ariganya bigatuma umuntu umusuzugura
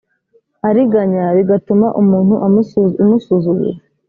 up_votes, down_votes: 2, 3